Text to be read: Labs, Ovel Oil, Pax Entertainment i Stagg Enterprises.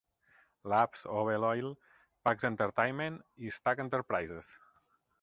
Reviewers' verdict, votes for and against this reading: accepted, 4, 0